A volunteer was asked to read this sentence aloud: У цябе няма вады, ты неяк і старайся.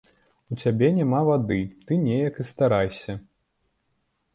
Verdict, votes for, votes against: accepted, 2, 0